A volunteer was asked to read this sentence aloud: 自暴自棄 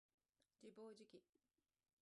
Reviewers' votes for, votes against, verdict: 0, 2, rejected